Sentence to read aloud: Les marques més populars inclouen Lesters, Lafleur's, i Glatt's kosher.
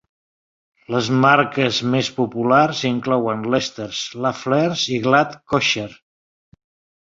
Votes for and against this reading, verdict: 1, 3, rejected